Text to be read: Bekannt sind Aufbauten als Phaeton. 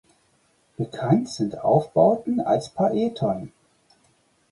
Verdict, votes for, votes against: rejected, 0, 4